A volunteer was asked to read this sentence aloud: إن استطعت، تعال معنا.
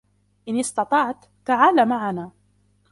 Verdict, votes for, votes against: rejected, 1, 2